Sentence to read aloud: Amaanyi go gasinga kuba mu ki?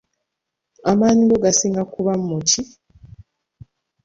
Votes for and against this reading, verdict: 3, 0, accepted